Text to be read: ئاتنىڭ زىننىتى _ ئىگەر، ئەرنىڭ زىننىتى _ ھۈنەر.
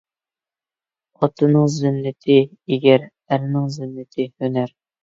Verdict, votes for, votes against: rejected, 0, 2